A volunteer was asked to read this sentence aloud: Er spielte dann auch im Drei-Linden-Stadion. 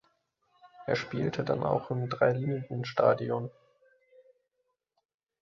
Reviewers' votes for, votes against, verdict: 1, 2, rejected